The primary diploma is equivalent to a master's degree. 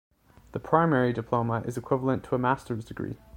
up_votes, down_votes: 2, 0